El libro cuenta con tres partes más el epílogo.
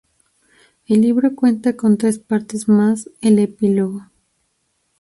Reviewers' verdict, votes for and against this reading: accepted, 2, 0